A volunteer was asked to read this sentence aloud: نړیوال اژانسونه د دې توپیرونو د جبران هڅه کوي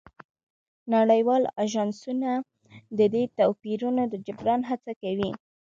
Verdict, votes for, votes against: accepted, 2, 1